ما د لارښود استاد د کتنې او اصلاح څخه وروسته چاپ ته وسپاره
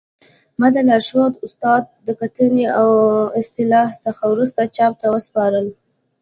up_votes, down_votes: 2, 0